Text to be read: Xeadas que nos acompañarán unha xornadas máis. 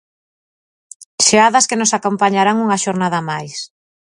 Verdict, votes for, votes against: rejected, 0, 2